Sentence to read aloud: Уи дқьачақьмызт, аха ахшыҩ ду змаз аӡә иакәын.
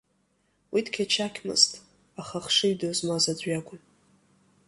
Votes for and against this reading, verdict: 2, 1, accepted